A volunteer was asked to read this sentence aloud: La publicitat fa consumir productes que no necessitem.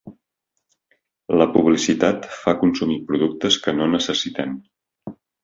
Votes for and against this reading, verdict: 2, 0, accepted